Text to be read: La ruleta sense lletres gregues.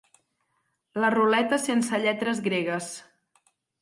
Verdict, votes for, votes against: accepted, 4, 0